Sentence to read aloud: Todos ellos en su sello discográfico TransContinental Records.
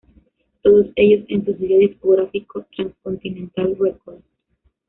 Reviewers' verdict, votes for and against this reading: accepted, 2, 1